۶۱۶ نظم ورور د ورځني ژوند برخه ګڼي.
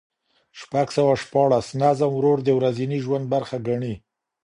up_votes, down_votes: 0, 2